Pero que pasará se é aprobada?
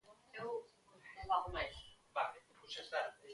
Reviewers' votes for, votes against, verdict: 0, 2, rejected